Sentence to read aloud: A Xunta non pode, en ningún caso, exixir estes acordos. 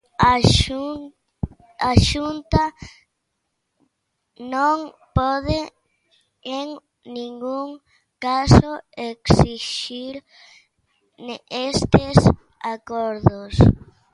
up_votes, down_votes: 1, 2